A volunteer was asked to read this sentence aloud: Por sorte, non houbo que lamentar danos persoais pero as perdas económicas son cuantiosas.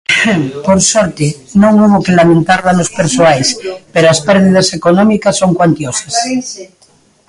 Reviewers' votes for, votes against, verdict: 1, 2, rejected